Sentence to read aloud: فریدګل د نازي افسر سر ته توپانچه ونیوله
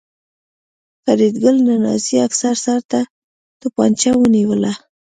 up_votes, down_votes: 2, 0